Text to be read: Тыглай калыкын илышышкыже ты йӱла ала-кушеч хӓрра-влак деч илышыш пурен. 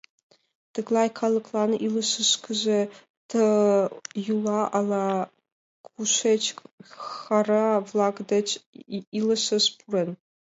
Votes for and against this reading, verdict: 1, 2, rejected